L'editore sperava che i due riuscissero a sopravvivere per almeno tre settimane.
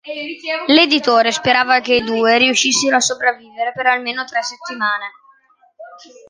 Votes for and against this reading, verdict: 2, 0, accepted